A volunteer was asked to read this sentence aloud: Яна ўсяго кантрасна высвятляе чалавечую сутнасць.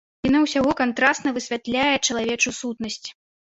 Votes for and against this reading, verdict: 1, 2, rejected